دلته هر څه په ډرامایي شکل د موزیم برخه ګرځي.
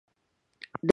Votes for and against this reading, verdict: 0, 2, rejected